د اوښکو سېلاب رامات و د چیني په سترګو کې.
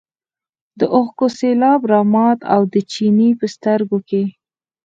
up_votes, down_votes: 4, 0